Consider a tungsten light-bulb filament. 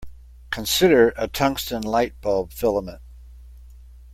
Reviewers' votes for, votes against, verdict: 2, 0, accepted